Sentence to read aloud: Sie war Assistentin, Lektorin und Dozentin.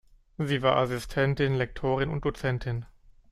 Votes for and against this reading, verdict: 2, 0, accepted